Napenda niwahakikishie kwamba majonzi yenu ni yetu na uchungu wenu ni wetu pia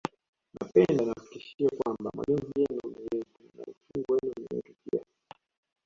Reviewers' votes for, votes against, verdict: 1, 2, rejected